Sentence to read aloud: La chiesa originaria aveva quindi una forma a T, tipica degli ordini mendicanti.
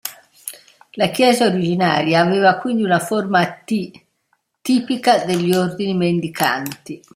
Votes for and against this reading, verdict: 2, 0, accepted